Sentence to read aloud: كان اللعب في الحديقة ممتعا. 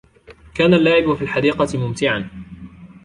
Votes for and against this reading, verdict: 0, 2, rejected